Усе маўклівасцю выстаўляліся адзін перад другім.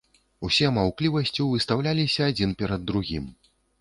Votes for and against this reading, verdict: 2, 0, accepted